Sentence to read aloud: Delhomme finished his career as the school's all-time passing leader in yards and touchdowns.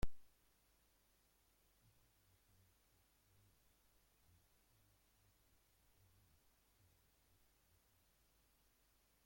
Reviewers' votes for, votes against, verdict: 0, 2, rejected